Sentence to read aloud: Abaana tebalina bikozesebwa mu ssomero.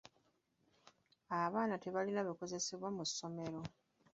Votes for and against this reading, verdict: 2, 1, accepted